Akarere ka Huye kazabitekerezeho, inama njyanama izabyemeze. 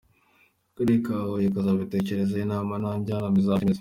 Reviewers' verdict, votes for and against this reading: accepted, 2, 1